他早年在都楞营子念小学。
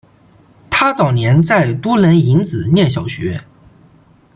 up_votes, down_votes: 2, 0